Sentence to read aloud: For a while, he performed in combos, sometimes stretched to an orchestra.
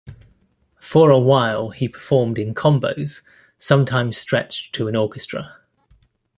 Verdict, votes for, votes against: accepted, 2, 0